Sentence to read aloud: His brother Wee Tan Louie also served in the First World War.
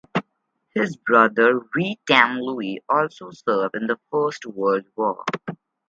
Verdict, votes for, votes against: rejected, 2, 2